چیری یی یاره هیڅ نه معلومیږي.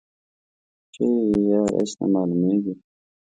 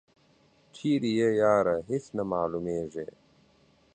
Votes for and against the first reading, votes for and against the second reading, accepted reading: 0, 2, 2, 0, second